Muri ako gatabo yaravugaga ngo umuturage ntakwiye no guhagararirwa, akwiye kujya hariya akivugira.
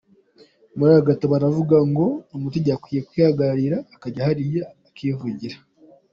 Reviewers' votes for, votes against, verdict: 1, 2, rejected